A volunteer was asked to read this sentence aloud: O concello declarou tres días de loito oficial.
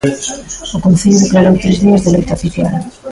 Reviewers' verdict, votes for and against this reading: rejected, 0, 2